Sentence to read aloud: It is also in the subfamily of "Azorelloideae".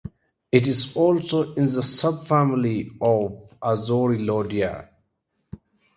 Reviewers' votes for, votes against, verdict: 2, 0, accepted